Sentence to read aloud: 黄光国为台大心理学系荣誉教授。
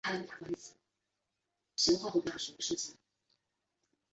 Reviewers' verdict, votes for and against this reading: rejected, 0, 3